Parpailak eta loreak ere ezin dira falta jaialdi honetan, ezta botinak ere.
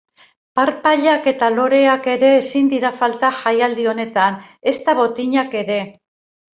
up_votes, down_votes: 4, 0